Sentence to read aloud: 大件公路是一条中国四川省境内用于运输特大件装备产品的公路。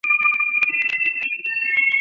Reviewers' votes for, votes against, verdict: 0, 2, rejected